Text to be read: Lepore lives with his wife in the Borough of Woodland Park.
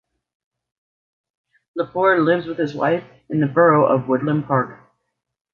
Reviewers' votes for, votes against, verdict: 2, 0, accepted